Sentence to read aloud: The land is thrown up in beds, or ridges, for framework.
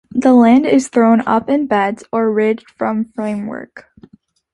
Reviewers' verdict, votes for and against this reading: rejected, 1, 2